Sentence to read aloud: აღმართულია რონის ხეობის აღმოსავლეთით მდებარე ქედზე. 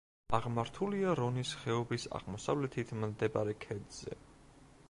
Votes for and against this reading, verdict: 1, 2, rejected